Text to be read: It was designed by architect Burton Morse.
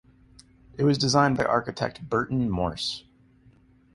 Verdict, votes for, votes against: accepted, 2, 0